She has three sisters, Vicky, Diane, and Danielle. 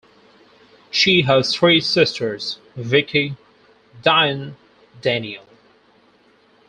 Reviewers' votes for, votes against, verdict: 2, 4, rejected